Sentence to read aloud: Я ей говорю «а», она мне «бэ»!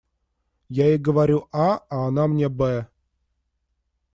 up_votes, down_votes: 0, 2